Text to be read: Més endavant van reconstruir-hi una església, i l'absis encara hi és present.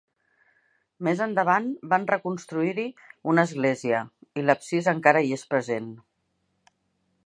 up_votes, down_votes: 1, 2